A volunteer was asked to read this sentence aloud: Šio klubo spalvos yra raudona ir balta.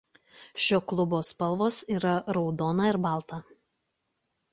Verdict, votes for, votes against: accepted, 2, 0